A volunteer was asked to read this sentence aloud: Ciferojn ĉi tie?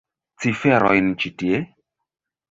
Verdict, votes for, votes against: rejected, 0, 2